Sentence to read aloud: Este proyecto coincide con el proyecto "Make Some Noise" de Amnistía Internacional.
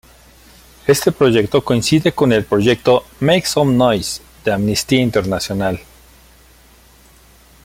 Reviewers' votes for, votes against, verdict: 2, 1, accepted